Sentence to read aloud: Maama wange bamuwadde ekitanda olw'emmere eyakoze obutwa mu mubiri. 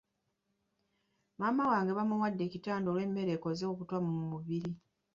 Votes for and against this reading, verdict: 0, 2, rejected